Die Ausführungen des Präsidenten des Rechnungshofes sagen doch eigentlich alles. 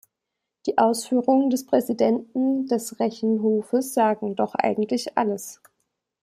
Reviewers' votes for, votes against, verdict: 0, 2, rejected